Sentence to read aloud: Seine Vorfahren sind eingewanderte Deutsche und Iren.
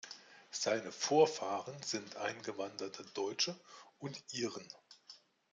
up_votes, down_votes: 2, 0